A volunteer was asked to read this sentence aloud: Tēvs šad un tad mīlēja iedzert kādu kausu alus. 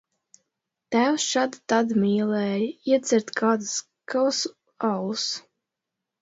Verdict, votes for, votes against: rejected, 1, 2